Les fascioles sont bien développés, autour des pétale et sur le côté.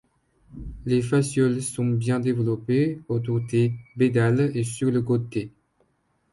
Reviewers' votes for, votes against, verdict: 1, 2, rejected